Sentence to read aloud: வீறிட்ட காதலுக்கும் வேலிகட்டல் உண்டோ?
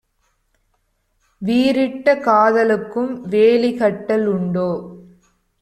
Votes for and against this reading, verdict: 2, 0, accepted